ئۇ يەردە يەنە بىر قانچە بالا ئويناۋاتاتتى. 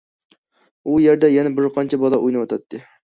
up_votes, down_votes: 2, 0